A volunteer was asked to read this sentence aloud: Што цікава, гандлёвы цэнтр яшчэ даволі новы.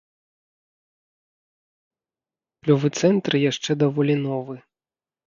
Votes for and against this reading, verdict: 0, 2, rejected